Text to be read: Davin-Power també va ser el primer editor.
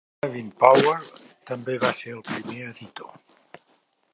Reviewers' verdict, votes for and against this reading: accepted, 2, 1